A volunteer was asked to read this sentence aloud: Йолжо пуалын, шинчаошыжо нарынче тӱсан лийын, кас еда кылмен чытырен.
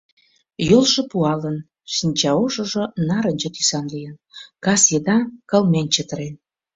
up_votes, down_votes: 2, 0